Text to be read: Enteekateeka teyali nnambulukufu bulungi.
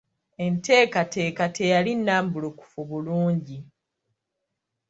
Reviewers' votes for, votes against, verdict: 2, 1, accepted